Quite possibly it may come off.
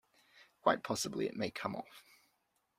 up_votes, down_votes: 2, 0